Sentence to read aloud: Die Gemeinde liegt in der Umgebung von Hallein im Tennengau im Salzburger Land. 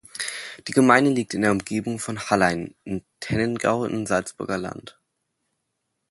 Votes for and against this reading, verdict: 2, 0, accepted